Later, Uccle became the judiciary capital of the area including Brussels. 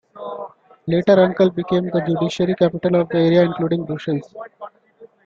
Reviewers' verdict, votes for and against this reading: accepted, 2, 0